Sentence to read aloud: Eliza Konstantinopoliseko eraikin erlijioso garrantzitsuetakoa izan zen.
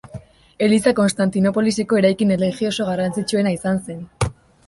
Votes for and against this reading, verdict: 0, 3, rejected